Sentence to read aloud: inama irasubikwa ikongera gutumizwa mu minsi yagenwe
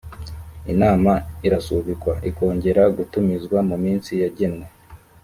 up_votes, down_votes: 2, 0